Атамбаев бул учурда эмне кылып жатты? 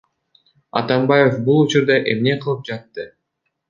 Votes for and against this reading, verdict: 1, 2, rejected